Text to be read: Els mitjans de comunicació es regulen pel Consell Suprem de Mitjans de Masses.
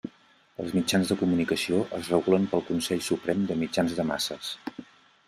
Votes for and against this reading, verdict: 2, 0, accepted